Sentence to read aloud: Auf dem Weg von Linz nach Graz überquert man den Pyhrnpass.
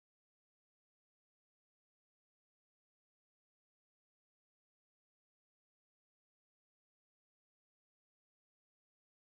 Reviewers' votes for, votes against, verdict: 0, 2, rejected